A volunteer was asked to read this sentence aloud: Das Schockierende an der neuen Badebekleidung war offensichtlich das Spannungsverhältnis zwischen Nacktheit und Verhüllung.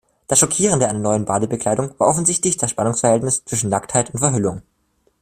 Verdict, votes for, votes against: rejected, 0, 2